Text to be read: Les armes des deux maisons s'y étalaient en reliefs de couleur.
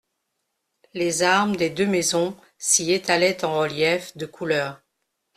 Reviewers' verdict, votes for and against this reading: accepted, 2, 0